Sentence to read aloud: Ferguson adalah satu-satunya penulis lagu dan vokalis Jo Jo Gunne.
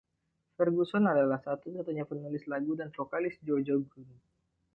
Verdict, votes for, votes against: rejected, 1, 2